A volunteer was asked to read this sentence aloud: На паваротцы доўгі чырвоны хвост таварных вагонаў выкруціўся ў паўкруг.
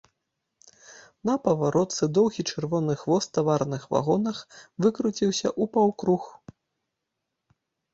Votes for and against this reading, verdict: 0, 2, rejected